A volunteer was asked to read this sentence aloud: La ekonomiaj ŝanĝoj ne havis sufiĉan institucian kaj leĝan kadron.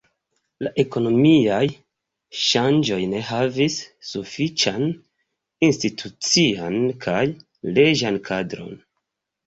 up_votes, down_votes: 2, 0